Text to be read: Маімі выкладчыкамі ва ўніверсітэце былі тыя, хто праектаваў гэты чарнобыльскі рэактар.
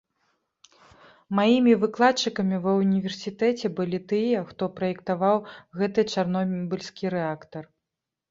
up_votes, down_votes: 1, 2